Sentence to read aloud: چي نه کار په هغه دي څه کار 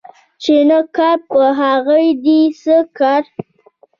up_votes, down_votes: 1, 2